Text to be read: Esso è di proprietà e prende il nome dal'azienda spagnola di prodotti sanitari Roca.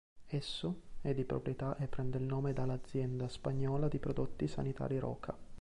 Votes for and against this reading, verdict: 2, 0, accepted